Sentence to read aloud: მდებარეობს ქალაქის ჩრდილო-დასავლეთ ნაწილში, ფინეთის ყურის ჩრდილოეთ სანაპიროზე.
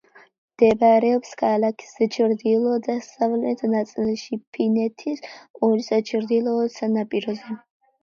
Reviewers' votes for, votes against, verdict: 2, 0, accepted